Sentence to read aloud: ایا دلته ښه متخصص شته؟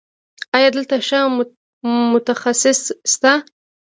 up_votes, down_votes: 2, 1